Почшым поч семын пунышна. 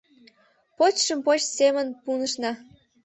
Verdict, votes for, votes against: accepted, 2, 0